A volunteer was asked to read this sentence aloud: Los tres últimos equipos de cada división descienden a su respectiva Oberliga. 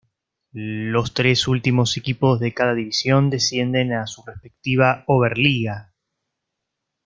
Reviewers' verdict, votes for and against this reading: accepted, 2, 1